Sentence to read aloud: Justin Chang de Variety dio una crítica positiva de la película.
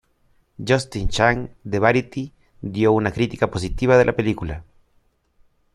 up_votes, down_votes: 2, 0